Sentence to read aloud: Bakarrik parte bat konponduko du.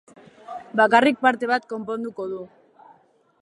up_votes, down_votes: 2, 0